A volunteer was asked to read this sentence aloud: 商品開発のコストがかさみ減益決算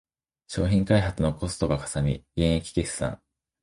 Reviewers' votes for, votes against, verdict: 2, 1, accepted